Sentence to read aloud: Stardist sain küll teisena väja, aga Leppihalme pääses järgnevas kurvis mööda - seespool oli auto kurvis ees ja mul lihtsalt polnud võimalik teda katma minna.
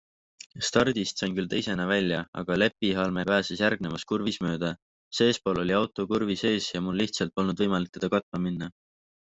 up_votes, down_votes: 3, 0